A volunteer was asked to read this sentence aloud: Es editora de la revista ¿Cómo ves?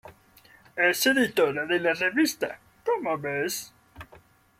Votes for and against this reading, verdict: 1, 2, rejected